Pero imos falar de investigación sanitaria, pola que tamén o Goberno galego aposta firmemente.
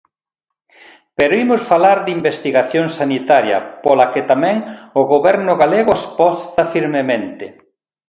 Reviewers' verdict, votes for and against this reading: rejected, 0, 2